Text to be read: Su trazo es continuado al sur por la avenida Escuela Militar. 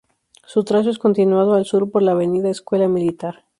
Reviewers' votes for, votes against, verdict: 2, 0, accepted